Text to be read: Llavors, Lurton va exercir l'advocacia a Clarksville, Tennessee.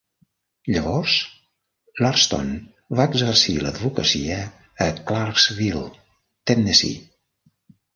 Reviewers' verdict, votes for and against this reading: rejected, 1, 2